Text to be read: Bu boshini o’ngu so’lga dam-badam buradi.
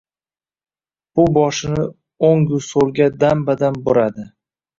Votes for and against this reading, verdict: 0, 2, rejected